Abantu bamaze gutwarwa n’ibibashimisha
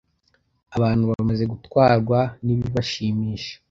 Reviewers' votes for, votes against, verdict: 2, 0, accepted